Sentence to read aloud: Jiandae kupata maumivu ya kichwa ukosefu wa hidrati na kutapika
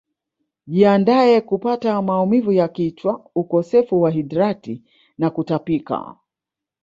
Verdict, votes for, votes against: accepted, 4, 0